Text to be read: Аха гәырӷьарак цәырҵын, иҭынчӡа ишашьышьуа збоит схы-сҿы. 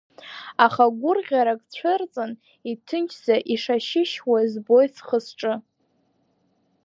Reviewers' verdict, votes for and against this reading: rejected, 0, 2